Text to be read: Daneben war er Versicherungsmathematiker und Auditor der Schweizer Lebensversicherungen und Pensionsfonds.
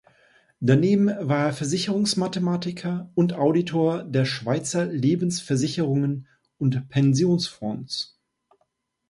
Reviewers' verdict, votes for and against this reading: accepted, 2, 0